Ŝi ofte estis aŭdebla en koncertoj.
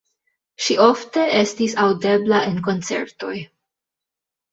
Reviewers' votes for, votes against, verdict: 2, 1, accepted